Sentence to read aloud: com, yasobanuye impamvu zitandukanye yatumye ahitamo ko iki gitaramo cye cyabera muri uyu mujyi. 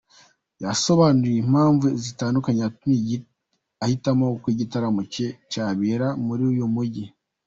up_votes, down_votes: 1, 2